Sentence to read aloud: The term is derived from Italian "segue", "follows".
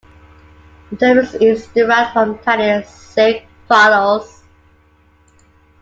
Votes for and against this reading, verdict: 1, 2, rejected